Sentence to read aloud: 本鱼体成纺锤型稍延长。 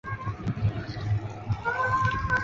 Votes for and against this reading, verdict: 0, 7, rejected